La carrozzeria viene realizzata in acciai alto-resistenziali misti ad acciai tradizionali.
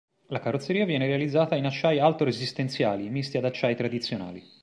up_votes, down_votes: 2, 0